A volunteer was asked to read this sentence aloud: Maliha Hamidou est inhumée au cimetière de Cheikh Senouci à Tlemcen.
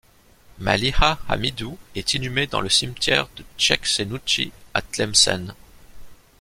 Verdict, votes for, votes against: rejected, 0, 2